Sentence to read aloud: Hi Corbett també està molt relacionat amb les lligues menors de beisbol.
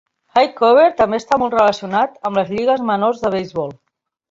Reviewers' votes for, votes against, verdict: 3, 0, accepted